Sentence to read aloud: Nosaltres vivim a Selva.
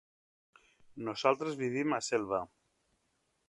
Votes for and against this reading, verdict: 3, 0, accepted